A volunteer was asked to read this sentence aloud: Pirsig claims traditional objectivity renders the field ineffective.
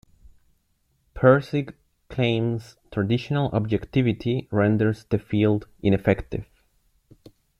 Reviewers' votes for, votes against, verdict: 2, 0, accepted